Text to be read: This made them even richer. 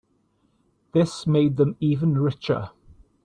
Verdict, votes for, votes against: accepted, 3, 1